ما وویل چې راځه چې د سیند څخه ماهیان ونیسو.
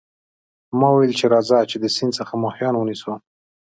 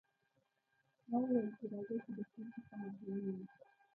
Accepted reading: first